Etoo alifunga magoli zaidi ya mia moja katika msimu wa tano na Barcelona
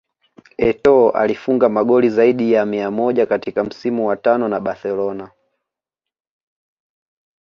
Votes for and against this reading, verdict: 2, 1, accepted